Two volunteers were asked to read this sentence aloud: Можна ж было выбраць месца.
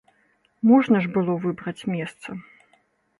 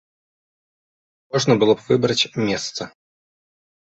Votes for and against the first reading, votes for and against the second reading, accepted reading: 3, 0, 1, 2, first